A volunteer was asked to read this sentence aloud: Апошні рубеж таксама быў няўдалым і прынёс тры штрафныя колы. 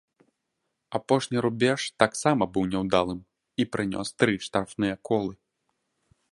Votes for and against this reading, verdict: 2, 0, accepted